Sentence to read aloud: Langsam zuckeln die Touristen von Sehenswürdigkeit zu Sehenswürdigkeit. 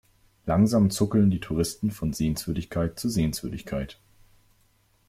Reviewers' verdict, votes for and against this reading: accepted, 2, 0